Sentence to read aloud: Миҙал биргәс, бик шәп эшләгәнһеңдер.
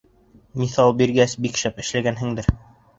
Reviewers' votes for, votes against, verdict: 1, 2, rejected